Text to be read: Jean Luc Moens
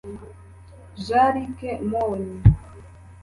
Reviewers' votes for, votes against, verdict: 1, 2, rejected